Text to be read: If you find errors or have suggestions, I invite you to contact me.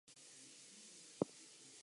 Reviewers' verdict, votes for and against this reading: rejected, 2, 2